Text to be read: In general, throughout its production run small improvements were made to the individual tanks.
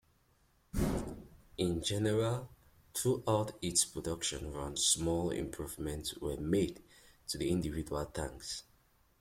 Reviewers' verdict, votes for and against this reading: accepted, 2, 0